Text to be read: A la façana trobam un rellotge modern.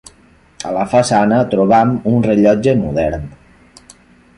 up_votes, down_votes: 3, 0